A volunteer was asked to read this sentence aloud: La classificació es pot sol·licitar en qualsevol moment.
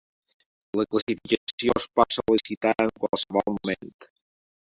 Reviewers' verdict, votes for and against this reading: rejected, 0, 2